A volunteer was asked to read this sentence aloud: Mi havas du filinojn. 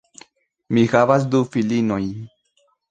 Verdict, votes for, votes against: rejected, 1, 2